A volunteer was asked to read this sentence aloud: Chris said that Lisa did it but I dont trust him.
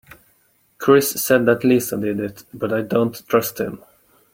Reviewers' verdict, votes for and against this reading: accepted, 3, 1